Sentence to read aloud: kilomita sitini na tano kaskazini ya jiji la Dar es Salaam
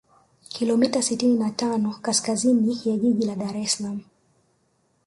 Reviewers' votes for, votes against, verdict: 1, 2, rejected